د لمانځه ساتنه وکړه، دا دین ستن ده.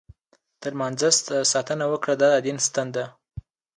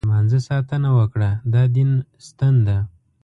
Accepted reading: second